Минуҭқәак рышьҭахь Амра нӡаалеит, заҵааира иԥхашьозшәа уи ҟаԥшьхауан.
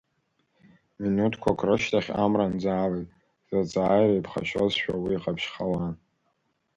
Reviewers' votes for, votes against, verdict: 2, 0, accepted